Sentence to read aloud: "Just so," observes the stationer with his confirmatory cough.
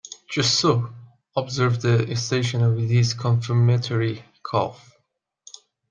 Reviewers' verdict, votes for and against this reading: accepted, 2, 1